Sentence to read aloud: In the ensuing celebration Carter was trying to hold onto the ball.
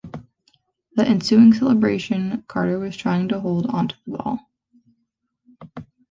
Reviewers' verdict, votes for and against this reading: rejected, 0, 2